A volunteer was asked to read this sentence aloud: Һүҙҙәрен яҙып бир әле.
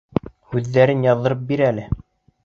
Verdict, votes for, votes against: rejected, 1, 2